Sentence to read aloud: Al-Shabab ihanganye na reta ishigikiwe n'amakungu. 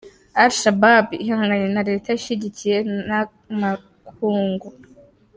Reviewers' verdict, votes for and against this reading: rejected, 2, 3